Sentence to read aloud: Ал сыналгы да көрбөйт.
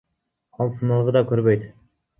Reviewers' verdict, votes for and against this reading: accepted, 2, 0